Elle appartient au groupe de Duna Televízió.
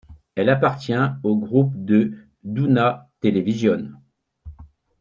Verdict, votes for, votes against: rejected, 1, 2